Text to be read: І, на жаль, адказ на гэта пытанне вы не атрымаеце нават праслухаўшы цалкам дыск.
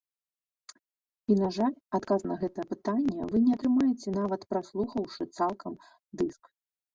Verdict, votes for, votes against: accepted, 2, 0